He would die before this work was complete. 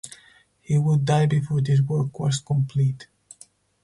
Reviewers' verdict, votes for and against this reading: accepted, 4, 0